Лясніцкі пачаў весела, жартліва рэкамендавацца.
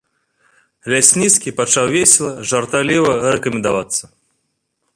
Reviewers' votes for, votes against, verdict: 1, 2, rejected